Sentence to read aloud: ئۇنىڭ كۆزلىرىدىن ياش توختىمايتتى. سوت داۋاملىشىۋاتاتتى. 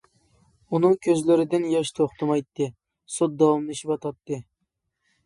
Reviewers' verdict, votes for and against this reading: accepted, 2, 0